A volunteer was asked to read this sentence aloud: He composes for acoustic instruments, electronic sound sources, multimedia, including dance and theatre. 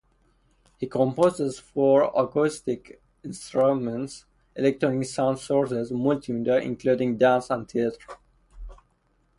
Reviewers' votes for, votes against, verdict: 0, 2, rejected